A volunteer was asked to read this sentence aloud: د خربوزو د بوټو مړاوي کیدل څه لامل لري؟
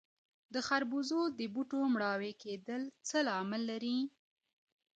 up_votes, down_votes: 2, 0